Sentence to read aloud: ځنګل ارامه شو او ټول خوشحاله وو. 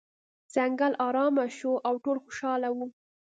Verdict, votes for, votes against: accepted, 2, 0